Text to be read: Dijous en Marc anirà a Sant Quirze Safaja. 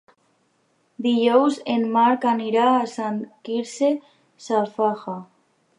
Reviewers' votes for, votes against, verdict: 0, 2, rejected